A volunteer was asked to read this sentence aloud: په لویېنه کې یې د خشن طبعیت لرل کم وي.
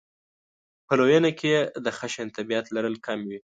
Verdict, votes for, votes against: accepted, 2, 0